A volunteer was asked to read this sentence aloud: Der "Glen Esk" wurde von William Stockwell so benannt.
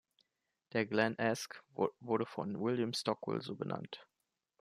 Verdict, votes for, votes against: rejected, 0, 2